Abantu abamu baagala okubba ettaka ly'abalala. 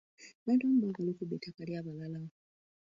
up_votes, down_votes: 0, 2